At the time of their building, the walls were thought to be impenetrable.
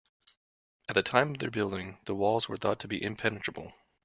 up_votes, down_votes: 1, 2